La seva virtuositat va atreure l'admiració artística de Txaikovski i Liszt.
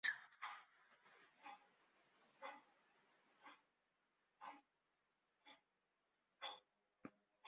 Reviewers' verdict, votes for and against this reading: rejected, 0, 2